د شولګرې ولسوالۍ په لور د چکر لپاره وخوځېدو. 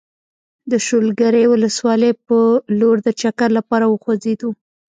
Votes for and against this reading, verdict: 1, 2, rejected